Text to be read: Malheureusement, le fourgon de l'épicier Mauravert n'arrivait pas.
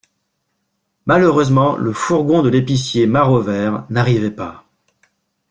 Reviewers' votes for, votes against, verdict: 0, 2, rejected